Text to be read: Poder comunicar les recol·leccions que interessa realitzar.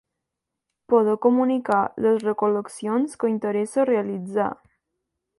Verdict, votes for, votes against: accepted, 2, 0